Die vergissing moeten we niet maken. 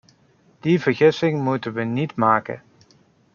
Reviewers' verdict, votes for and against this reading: accepted, 2, 0